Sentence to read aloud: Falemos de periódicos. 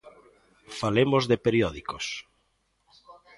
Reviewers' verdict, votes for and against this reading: accepted, 3, 0